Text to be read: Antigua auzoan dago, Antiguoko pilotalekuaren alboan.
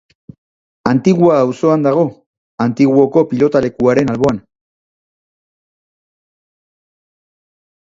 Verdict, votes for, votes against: accepted, 3, 1